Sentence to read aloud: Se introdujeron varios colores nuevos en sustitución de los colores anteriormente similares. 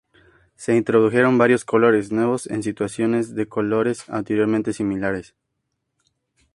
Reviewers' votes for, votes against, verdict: 0, 4, rejected